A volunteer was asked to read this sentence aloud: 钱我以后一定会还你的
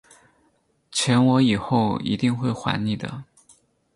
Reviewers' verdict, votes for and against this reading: accepted, 4, 0